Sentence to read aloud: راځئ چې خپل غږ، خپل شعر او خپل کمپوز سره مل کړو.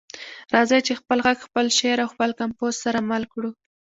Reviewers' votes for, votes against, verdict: 2, 0, accepted